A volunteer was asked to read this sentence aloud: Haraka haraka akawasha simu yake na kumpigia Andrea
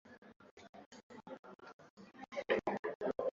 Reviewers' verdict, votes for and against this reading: rejected, 0, 2